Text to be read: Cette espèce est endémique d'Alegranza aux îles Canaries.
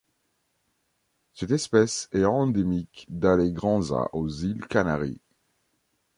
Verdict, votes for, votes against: accepted, 2, 0